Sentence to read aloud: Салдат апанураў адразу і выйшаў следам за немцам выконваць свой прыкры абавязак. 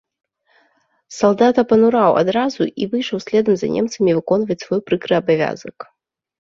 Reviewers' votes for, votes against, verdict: 0, 2, rejected